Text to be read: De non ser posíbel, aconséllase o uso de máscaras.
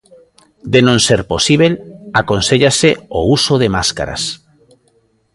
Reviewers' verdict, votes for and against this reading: rejected, 0, 2